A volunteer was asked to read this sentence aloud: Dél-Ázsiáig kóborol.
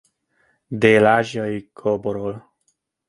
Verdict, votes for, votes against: rejected, 0, 2